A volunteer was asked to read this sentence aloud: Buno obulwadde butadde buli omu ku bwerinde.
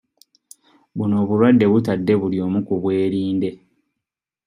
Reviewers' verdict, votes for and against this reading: rejected, 0, 2